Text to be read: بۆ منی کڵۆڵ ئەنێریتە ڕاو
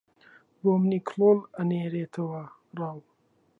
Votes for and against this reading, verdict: 0, 2, rejected